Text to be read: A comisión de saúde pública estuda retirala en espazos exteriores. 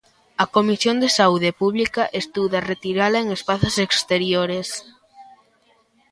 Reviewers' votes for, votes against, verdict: 3, 1, accepted